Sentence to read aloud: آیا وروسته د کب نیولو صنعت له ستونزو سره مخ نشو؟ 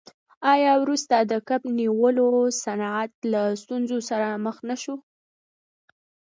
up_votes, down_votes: 2, 0